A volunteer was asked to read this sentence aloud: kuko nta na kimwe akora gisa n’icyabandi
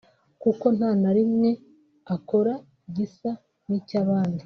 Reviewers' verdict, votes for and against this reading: rejected, 1, 2